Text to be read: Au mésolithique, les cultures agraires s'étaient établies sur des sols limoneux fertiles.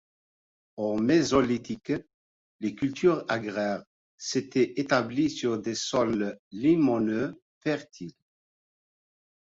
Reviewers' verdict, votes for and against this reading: accepted, 2, 0